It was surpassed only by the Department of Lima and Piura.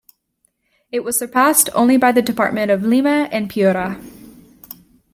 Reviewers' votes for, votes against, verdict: 2, 0, accepted